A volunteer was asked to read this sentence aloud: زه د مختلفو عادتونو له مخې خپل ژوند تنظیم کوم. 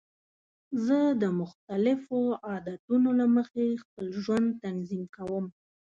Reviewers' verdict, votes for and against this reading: accepted, 3, 0